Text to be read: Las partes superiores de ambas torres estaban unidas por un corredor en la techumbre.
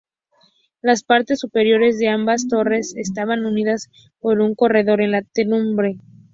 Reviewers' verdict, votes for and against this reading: rejected, 0, 2